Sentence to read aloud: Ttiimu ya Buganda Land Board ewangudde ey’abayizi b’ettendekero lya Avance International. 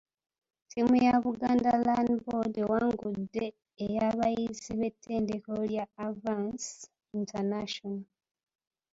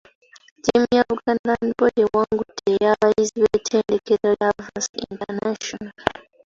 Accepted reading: first